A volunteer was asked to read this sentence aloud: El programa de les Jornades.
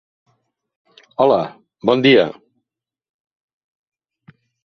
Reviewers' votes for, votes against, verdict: 0, 2, rejected